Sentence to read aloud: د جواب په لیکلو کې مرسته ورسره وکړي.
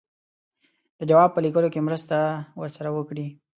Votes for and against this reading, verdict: 2, 0, accepted